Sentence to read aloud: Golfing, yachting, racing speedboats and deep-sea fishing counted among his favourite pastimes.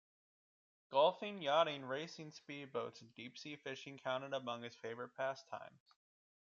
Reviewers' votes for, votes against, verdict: 2, 1, accepted